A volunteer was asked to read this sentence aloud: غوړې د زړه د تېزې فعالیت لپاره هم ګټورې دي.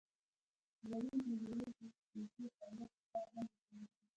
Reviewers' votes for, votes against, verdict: 2, 1, accepted